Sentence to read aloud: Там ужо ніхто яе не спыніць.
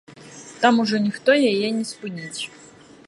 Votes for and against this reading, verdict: 2, 1, accepted